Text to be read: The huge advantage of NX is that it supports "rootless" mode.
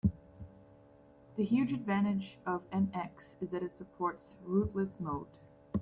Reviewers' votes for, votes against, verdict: 2, 0, accepted